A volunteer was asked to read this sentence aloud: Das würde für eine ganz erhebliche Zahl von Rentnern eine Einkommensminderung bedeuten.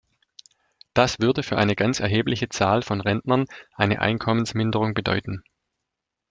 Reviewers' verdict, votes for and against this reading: accepted, 2, 0